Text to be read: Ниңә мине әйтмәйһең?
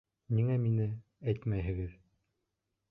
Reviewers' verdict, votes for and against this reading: rejected, 1, 2